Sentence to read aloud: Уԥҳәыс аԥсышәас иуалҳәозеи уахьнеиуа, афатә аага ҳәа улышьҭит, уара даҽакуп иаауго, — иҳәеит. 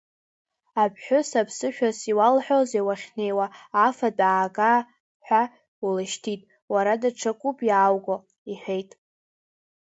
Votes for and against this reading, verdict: 0, 2, rejected